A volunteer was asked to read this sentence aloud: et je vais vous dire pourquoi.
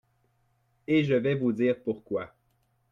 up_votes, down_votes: 2, 0